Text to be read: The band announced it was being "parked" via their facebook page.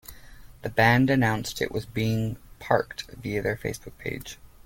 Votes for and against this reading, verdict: 2, 0, accepted